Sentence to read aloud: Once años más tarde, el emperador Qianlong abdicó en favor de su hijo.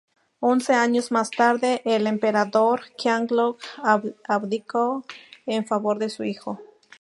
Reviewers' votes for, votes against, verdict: 0, 2, rejected